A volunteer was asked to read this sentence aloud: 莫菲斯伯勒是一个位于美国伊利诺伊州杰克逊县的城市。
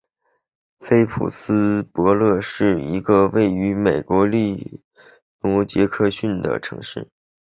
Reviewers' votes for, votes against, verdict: 0, 2, rejected